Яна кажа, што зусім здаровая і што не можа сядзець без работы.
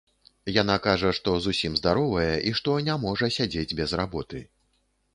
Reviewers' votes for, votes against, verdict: 2, 0, accepted